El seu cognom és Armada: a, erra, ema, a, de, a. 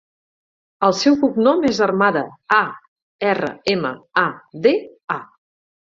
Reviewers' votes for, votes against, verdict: 4, 0, accepted